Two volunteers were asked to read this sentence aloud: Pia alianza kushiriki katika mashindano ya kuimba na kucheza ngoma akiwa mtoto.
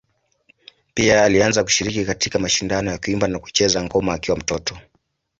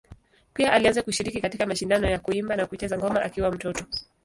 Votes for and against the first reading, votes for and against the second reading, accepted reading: 2, 0, 0, 2, first